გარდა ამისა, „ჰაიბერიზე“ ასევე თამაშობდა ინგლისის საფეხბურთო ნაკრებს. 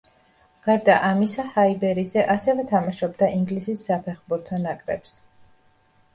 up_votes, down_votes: 2, 0